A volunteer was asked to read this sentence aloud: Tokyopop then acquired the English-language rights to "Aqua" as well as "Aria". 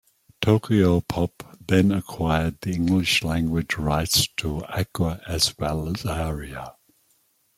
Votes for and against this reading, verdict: 2, 0, accepted